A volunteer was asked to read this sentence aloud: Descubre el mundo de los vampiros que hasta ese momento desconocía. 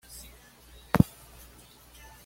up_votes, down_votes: 1, 2